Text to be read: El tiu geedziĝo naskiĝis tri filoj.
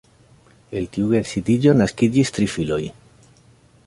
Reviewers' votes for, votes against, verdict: 1, 2, rejected